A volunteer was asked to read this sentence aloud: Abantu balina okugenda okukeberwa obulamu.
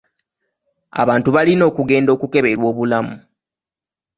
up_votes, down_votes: 2, 0